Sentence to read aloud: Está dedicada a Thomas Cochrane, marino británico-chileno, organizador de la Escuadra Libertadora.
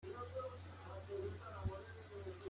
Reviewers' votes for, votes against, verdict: 0, 2, rejected